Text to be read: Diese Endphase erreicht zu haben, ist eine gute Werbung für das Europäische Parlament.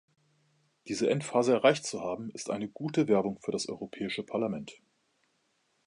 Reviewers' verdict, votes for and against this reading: accepted, 2, 0